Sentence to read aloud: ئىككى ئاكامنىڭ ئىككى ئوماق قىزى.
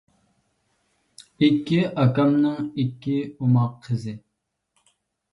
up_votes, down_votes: 2, 0